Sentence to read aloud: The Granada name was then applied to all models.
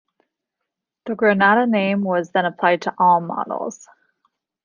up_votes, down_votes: 2, 0